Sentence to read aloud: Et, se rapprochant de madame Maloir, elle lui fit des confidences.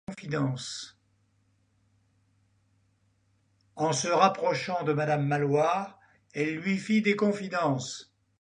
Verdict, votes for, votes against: rejected, 1, 2